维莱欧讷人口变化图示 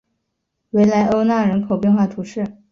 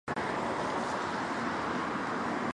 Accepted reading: first